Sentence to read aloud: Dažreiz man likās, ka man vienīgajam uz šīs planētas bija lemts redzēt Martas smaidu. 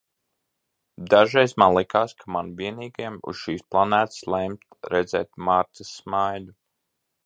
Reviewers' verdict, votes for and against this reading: rejected, 0, 3